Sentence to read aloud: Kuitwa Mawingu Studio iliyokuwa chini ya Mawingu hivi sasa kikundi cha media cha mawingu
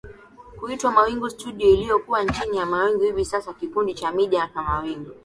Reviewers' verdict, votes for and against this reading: accepted, 2, 1